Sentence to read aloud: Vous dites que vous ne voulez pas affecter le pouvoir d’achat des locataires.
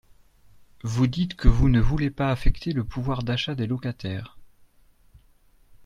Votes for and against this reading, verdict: 2, 0, accepted